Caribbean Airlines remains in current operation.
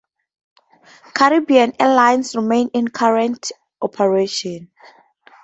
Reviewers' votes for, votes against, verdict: 2, 0, accepted